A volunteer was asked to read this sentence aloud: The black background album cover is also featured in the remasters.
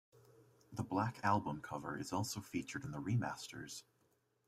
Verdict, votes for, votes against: rejected, 1, 2